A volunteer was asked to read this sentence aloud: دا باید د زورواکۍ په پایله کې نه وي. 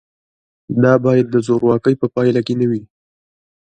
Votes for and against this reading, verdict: 2, 0, accepted